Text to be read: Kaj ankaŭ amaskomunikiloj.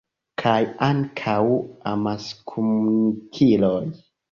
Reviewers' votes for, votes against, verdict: 1, 2, rejected